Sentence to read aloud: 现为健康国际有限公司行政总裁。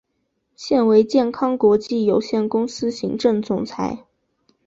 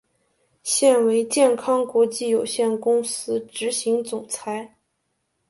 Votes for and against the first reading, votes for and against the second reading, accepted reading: 4, 0, 1, 2, first